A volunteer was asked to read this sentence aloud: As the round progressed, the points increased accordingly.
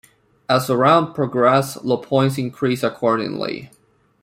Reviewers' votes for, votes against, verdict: 1, 2, rejected